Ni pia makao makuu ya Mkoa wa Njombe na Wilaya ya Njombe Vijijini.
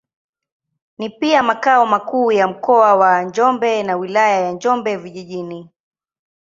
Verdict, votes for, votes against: accepted, 2, 0